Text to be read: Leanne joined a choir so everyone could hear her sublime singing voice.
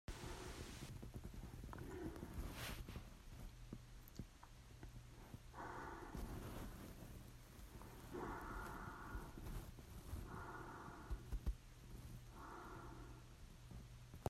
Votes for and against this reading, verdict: 0, 4, rejected